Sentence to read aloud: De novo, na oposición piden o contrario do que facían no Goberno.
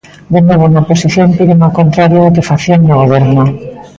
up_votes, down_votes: 1, 2